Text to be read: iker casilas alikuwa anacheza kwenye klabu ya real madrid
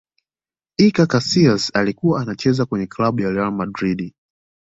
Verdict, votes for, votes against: accepted, 2, 0